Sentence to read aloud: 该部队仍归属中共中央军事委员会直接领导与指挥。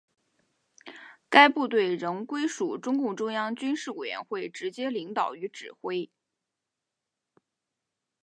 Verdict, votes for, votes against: accepted, 3, 0